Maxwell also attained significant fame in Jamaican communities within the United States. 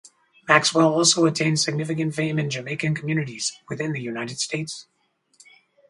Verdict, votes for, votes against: accepted, 4, 0